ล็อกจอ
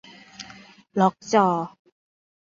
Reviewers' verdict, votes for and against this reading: accepted, 2, 1